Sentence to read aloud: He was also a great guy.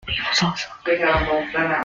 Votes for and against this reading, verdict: 0, 2, rejected